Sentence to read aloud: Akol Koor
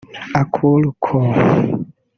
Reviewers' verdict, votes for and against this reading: rejected, 1, 2